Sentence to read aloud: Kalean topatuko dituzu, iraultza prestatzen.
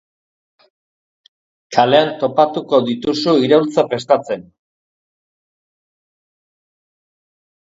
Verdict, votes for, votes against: accepted, 2, 0